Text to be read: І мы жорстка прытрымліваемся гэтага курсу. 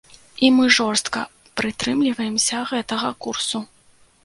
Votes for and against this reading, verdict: 2, 0, accepted